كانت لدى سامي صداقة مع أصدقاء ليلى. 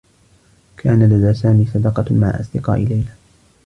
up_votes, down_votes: 1, 2